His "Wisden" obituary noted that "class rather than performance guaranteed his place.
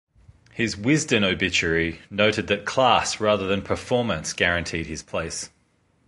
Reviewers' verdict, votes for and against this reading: accepted, 2, 0